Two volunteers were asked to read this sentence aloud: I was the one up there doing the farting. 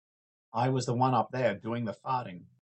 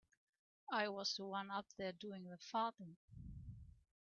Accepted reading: first